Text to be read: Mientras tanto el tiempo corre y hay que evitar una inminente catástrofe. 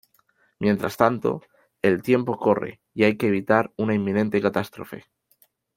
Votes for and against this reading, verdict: 2, 0, accepted